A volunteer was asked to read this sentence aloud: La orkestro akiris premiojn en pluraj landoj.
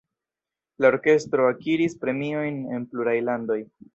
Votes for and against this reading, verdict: 1, 2, rejected